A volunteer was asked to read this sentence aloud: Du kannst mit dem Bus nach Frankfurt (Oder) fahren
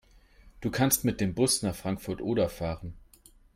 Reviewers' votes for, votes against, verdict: 3, 0, accepted